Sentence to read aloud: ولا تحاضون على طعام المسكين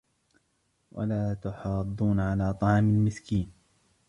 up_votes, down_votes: 0, 2